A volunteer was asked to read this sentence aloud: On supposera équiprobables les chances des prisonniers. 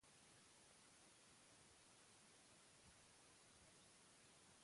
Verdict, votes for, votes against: rejected, 0, 2